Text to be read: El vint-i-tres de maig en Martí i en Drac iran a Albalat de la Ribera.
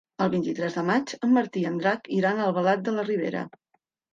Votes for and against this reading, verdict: 3, 0, accepted